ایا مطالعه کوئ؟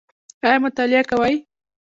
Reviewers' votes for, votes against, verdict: 2, 0, accepted